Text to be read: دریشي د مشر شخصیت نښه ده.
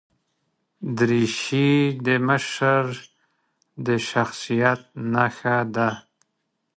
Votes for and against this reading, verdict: 0, 2, rejected